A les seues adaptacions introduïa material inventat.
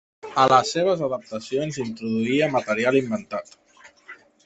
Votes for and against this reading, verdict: 1, 2, rejected